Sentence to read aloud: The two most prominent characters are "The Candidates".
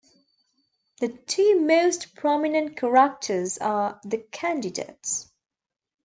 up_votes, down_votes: 2, 1